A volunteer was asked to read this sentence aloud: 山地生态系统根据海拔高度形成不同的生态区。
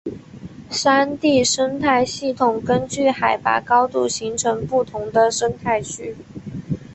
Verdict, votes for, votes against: rejected, 0, 2